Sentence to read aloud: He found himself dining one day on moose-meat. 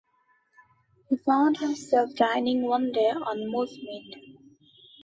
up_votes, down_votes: 2, 0